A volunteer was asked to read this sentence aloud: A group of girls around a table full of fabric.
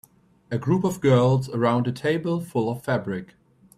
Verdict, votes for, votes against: accepted, 2, 0